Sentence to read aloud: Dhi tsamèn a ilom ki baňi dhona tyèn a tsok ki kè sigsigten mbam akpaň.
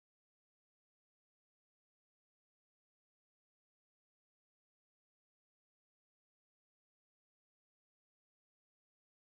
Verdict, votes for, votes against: rejected, 0, 2